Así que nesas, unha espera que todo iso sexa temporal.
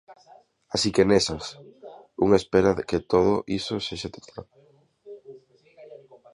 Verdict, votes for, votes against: rejected, 1, 2